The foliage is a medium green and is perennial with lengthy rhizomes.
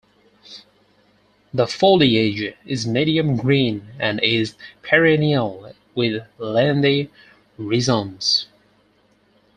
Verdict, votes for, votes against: rejected, 2, 4